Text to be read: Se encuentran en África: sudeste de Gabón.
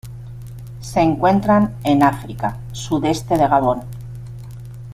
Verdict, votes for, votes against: accepted, 3, 0